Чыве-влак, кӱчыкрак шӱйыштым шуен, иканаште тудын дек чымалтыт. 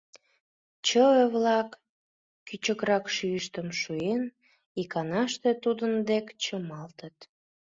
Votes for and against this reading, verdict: 2, 0, accepted